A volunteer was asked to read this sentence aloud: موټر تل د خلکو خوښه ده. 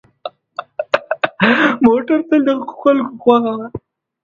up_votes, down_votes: 1, 2